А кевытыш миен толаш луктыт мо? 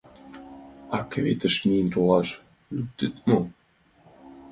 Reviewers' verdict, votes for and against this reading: rejected, 1, 3